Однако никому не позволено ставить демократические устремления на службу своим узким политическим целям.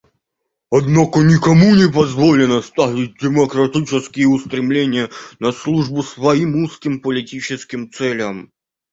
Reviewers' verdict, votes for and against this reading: rejected, 0, 2